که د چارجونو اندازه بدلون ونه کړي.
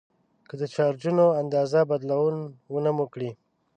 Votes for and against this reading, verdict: 1, 2, rejected